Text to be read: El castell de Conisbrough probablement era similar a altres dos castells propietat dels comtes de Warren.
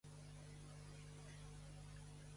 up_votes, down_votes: 0, 2